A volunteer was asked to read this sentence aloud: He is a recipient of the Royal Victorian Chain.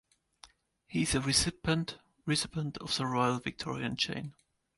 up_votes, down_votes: 2, 3